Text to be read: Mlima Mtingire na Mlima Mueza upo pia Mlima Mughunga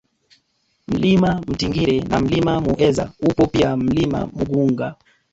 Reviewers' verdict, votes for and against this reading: rejected, 0, 2